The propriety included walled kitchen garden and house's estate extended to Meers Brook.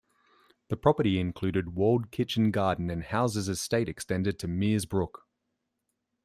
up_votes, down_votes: 1, 2